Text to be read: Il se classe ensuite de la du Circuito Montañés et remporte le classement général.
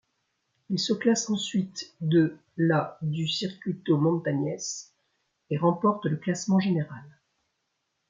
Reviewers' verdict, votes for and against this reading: accepted, 2, 0